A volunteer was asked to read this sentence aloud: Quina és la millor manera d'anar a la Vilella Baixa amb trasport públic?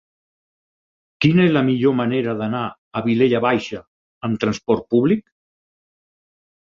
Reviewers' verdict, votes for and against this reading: rejected, 0, 4